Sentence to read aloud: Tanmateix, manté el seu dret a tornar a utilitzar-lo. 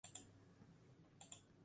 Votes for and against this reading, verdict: 0, 6, rejected